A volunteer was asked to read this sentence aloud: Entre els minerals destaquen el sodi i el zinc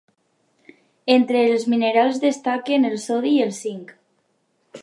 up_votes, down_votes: 2, 0